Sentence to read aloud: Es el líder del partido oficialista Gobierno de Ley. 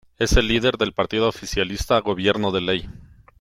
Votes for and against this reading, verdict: 2, 0, accepted